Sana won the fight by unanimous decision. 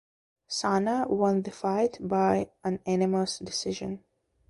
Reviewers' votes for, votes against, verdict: 1, 2, rejected